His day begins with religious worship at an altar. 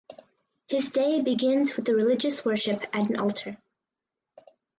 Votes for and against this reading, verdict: 2, 4, rejected